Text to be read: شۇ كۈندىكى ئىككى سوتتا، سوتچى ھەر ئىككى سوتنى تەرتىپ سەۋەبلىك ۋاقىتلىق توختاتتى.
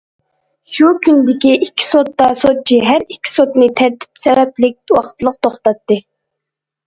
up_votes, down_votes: 2, 0